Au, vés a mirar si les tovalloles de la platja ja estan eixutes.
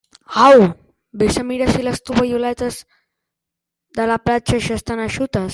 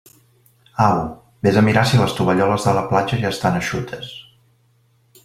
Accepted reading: second